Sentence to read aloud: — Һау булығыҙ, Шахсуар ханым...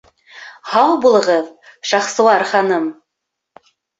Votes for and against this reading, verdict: 2, 0, accepted